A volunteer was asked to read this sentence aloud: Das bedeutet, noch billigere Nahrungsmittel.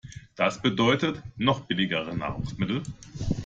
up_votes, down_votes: 2, 0